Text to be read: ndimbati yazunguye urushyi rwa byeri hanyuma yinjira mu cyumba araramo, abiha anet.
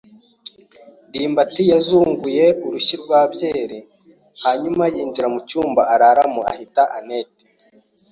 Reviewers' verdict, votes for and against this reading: rejected, 1, 2